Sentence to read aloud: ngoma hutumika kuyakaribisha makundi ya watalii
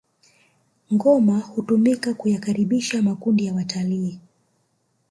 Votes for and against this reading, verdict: 2, 0, accepted